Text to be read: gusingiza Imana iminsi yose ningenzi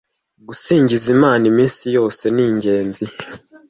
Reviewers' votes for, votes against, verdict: 2, 1, accepted